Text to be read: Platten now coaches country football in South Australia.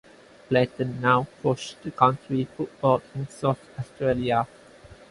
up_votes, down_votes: 0, 4